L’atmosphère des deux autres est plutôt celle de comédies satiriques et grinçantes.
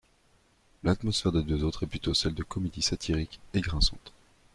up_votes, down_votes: 2, 0